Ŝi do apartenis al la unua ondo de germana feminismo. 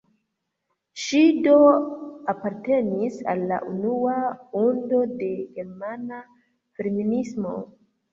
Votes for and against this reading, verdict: 0, 2, rejected